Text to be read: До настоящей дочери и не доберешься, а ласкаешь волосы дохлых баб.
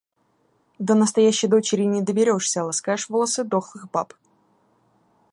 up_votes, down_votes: 2, 1